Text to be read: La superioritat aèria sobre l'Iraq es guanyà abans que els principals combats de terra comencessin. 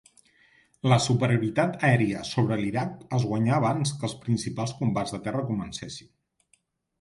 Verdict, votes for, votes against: accepted, 4, 0